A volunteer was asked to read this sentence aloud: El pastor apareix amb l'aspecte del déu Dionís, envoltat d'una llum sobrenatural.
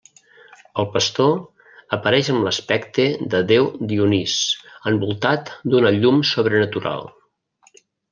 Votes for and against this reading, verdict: 1, 2, rejected